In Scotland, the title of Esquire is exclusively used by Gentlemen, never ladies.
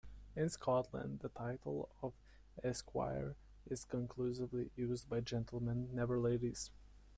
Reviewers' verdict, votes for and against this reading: accepted, 2, 1